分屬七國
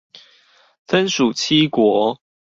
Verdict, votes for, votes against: accepted, 4, 0